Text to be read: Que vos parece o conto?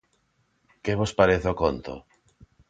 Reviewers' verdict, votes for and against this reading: accepted, 2, 0